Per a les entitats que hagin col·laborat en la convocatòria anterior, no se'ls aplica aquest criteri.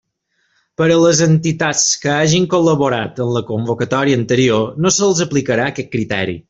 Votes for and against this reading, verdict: 2, 3, rejected